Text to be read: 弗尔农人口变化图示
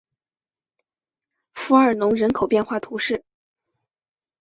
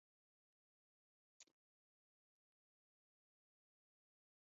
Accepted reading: first